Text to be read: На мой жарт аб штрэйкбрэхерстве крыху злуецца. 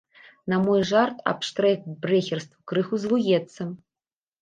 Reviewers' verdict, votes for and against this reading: rejected, 0, 2